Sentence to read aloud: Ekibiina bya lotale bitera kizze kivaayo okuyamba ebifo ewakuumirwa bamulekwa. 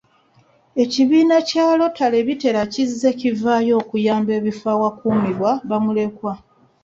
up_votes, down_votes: 2, 1